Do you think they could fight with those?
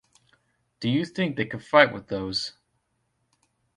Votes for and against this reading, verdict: 2, 0, accepted